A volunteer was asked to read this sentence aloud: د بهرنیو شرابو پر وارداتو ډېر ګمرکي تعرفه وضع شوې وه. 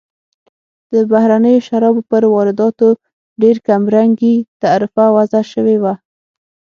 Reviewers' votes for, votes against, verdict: 3, 6, rejected